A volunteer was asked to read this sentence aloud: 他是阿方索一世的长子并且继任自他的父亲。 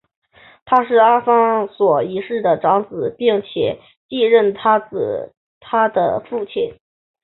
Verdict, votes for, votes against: rejected, 1, 2